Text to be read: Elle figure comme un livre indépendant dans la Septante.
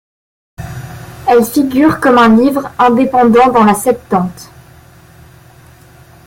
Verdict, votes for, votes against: accepted, 2, 0